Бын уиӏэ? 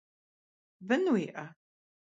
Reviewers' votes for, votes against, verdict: 2, 0, accepted